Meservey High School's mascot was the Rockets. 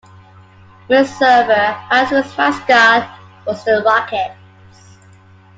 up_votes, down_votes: 0, 2